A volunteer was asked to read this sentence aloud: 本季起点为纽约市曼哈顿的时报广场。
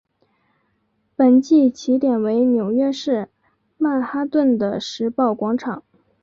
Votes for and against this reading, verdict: 1, 2, rejected